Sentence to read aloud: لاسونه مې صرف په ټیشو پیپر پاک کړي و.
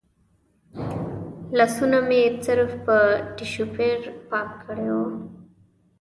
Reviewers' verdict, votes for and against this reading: rejected, 0, 2